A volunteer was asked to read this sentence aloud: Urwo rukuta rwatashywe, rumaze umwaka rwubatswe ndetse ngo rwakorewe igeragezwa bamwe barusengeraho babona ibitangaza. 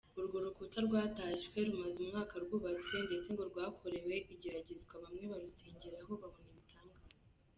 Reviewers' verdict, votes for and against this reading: accepted, 2, 0